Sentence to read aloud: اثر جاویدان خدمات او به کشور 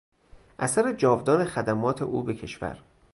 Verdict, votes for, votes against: rejected, 0, 2